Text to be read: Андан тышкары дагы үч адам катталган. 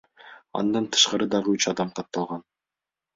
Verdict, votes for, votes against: accepted, 2, 0